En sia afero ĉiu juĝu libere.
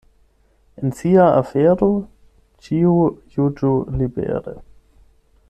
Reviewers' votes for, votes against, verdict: 8, 0, accepted